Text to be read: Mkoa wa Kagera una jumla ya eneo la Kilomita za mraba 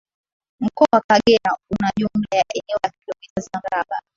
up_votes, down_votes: 0, 2